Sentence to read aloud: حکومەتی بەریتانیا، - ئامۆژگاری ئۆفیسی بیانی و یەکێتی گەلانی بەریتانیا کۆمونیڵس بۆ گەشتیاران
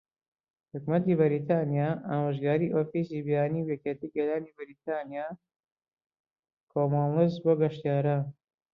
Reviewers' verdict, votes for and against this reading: rejected, 1, 2